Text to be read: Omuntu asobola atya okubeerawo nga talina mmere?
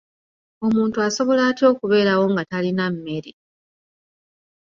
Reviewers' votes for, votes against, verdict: 3, 1, accepted